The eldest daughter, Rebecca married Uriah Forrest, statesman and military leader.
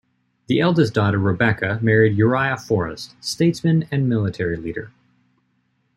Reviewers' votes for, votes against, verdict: 2, 0, accepted